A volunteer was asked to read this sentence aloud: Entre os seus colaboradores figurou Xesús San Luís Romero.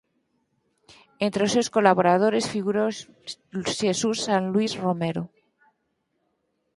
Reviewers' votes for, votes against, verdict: 0, 4, rejected